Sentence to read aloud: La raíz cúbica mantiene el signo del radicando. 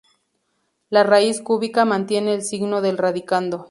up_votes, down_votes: 2, 2